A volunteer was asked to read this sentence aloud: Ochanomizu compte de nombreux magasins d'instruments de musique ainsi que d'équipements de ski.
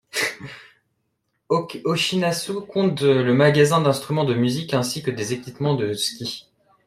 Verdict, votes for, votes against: rejected, 0, 2